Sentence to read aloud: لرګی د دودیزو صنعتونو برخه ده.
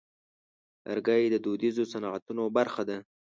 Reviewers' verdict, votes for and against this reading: accepted, 2, 0